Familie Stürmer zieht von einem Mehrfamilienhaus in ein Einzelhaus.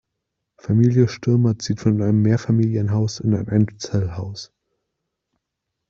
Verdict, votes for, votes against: rejected, 1, 2